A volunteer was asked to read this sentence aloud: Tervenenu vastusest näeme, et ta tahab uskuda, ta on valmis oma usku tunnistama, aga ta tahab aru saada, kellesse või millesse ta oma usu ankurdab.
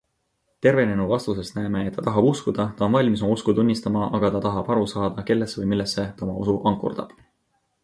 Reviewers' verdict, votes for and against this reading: accepted, 2, 0